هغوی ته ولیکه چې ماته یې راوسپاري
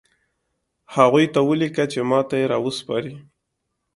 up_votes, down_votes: 2, 0